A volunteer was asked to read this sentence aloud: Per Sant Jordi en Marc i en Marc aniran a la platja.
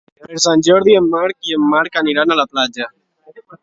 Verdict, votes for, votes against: accepted, 2, 0